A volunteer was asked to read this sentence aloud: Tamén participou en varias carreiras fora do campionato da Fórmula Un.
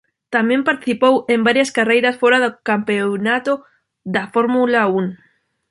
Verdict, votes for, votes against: rejected, 0, 2